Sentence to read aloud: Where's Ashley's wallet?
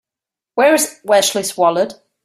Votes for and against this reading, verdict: 1, 2, rejected